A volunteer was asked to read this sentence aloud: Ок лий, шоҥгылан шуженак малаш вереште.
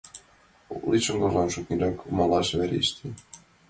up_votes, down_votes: 1, 2